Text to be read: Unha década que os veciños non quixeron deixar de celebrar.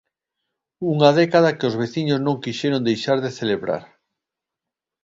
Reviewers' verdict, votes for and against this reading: accepted, 2, 0